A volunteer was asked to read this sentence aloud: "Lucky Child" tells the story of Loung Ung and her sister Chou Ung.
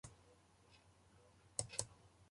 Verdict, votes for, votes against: rejected, 0, 2